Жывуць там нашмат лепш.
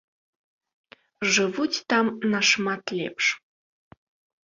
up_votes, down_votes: 2, 0